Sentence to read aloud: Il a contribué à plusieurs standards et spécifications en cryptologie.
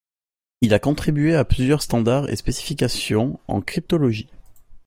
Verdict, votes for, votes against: accepted, 2, 0